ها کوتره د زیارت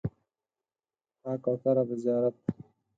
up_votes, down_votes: 2, 4